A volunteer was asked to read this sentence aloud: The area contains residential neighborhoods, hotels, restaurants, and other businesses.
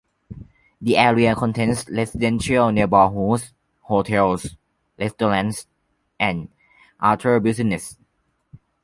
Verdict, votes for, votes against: accepted, 2, 1